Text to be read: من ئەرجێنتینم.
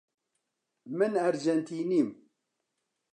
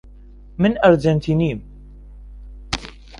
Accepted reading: first